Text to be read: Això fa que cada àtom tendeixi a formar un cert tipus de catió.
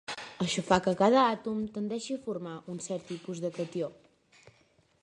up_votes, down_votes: 1, 2